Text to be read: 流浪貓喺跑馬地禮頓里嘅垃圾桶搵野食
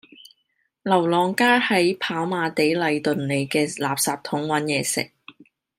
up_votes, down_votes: 1, 2